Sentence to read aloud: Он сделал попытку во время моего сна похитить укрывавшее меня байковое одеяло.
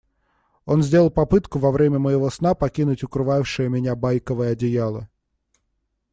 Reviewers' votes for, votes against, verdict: 0, 2, rejected